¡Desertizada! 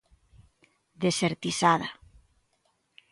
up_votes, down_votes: 2, 0